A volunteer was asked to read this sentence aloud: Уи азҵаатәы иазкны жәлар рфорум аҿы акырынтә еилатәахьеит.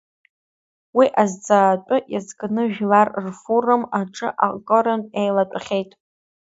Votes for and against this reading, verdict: 2, 0, accepted